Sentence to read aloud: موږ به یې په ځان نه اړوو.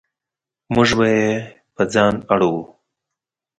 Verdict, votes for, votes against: rejected, 2, 4